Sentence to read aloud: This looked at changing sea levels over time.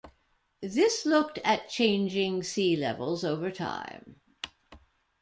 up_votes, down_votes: 2, 0